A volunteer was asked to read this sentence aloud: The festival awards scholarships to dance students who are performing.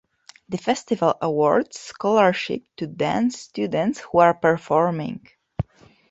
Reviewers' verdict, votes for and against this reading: accepted, 2, 1